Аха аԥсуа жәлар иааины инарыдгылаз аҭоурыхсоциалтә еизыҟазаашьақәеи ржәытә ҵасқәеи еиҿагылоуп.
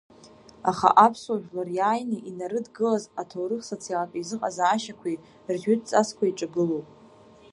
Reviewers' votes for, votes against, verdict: 0, 2, rejected